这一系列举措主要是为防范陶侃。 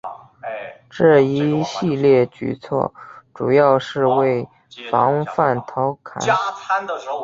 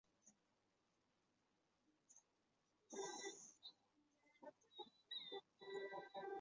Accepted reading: first